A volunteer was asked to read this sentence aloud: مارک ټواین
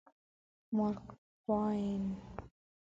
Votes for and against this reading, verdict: 2, 0, accepted